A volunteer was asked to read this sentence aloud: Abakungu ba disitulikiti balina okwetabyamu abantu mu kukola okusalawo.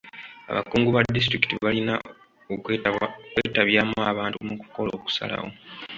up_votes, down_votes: 0, 2